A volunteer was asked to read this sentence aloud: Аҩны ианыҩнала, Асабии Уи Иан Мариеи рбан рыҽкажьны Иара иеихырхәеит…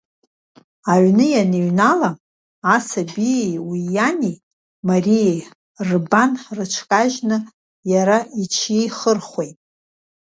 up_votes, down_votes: 1, 2